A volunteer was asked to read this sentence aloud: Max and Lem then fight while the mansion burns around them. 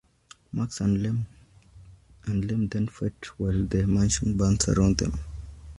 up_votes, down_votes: 0, 2